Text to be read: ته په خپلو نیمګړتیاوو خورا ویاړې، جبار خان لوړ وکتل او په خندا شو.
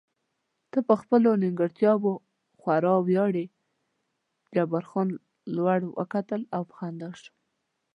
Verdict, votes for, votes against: accepted, 2, 0